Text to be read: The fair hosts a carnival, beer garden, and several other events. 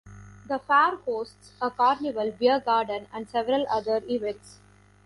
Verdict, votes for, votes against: rejected, 0, 2